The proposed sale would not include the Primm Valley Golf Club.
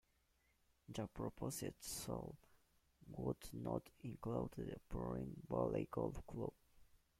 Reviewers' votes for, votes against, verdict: 0, 2, rejected